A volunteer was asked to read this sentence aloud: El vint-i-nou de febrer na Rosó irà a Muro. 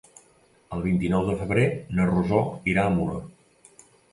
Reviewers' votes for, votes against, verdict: 2, 0, accepted